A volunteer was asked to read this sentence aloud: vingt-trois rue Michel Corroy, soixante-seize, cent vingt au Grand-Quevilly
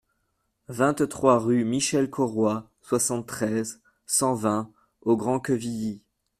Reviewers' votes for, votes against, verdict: 1, 2, rejected